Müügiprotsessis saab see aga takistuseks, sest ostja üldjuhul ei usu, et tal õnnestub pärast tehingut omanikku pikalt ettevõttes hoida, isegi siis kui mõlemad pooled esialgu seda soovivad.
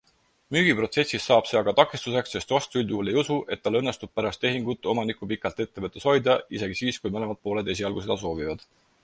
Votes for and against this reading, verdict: 4, 0, accepted